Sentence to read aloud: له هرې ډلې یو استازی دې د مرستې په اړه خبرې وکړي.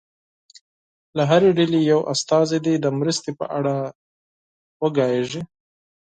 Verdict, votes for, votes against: rejected, 0, 4